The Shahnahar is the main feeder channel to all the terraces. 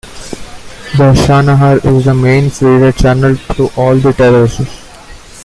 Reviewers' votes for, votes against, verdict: 1, 2, rejected